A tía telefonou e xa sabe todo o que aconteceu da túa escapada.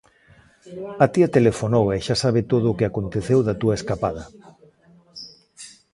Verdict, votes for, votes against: accepted, 2, 0